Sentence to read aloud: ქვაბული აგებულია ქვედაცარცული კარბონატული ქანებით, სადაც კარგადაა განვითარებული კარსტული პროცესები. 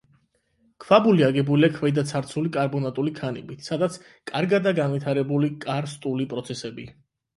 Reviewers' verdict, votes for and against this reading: accepted, 12, 4